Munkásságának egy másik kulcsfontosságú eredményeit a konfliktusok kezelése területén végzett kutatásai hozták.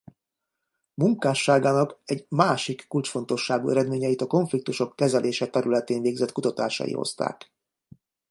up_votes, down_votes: 2, 0